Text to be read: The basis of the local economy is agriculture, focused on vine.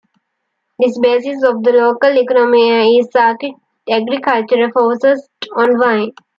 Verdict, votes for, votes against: accepted, 2, 1